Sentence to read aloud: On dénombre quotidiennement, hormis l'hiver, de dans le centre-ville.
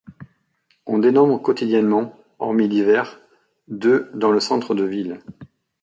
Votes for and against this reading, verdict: 1, 2, rejected